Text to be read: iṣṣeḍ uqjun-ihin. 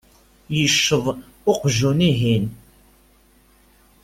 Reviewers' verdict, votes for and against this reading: rejected, 0, 2